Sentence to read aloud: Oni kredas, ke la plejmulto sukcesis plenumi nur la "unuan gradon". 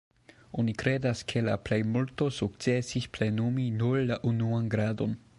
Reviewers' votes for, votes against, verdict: 2, 1, accepted